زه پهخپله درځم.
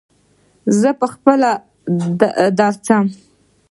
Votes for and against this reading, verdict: 2, 1, accepted